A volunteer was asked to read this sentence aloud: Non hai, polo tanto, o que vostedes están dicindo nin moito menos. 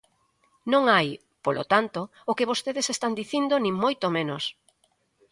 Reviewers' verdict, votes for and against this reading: accepted, 2, 0